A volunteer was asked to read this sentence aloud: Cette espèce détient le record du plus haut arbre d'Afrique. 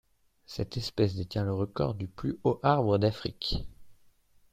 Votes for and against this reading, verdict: 0, 2, rejected